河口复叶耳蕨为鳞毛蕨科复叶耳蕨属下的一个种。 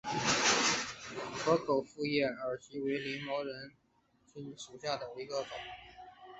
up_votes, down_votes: 0, 2